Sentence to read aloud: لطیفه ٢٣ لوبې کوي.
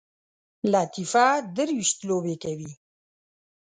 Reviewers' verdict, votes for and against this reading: rejected, 0, 2